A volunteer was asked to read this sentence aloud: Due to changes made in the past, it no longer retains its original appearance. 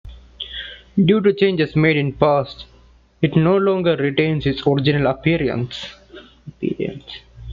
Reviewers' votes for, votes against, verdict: 0, 2, rejected